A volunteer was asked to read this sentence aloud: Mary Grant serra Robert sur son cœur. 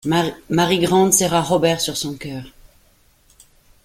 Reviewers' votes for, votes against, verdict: 0, 2, rejected